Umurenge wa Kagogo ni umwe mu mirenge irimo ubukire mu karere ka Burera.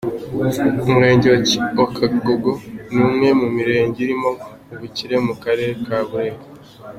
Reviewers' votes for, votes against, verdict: 1, 2, rejected